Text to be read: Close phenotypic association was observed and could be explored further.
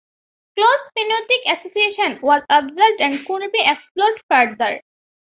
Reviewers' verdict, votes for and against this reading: accepted, 2, 1